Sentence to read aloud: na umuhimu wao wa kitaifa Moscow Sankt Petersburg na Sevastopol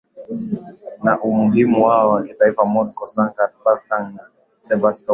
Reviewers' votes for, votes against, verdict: 5, 2, accepted